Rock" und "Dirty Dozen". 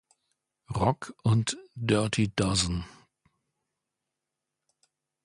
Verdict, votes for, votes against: accepted, 2, 0